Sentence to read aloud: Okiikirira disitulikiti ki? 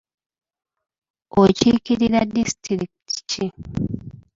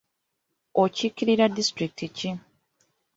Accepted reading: second